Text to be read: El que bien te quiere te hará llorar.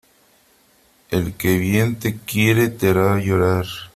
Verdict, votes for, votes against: accepted, 3, 0